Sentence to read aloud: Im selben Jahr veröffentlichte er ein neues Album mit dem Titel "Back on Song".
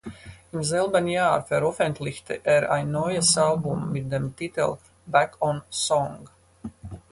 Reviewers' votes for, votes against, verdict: 2, 4, rejected